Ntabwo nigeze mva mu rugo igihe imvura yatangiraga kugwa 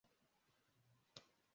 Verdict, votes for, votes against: rejected, 0, 2